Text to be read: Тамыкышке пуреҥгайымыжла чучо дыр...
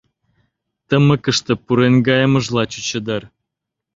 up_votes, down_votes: 1, 2